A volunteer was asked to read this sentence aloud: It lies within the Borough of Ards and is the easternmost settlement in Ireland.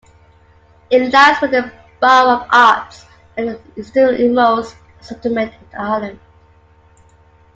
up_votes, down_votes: 0, 2